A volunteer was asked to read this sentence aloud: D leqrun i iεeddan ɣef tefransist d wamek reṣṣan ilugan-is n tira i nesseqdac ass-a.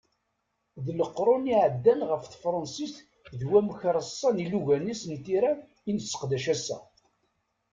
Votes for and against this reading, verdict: 2, 0, accepted